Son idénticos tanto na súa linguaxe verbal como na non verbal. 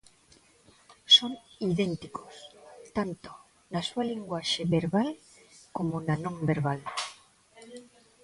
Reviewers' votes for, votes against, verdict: 2, 0, accepted